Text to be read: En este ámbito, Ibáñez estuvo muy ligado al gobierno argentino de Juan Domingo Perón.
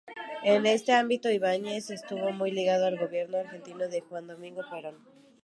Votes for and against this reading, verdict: 0, 2, rejected